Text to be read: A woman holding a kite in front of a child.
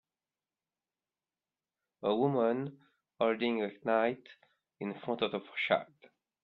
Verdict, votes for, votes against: accepted, 2, 0